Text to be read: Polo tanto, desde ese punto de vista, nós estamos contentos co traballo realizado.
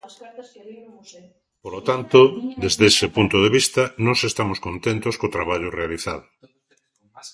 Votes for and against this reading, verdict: 1, 2, rejected